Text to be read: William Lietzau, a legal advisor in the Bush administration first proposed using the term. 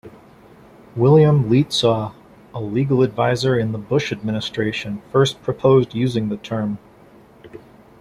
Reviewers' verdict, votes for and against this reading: accepted, 2, 0